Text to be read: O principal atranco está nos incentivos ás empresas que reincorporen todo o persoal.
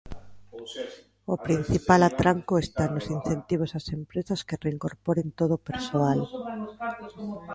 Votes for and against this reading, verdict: 1, 2, rejected